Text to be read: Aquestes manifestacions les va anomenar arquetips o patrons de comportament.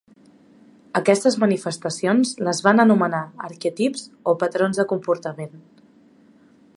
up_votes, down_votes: 1, 2